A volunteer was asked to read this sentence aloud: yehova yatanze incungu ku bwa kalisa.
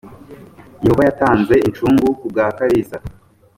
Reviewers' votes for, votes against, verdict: 4, 0, accepted